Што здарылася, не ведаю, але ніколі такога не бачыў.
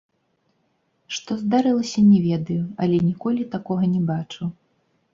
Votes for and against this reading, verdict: 0, 2, rejected